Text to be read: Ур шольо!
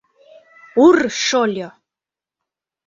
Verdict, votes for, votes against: rejected, 1, 2